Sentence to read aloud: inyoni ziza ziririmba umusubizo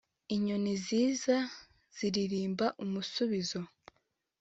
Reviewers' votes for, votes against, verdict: 2, 0, accepted